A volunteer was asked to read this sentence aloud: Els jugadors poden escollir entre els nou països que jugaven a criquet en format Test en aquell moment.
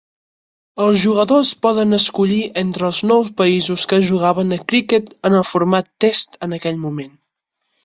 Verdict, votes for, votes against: rejected, 2, 4